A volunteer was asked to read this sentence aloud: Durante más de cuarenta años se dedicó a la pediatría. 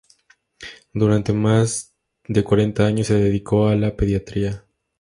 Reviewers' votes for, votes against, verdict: 2, 0, accepted